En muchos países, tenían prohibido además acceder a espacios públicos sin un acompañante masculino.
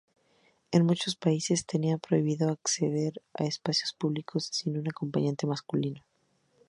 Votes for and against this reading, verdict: 2, 2, rejected